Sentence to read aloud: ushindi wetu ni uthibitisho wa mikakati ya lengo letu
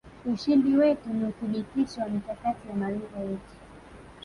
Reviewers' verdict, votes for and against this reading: accepted, 2, 1